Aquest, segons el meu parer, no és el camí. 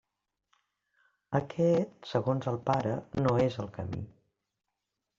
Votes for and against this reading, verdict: 0, 2, rejected